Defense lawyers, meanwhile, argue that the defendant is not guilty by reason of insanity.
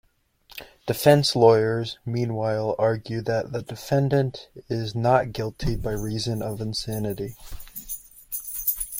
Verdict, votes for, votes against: accepted, 2, 0